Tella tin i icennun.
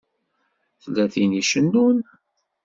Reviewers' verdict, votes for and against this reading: accepted, 2, 0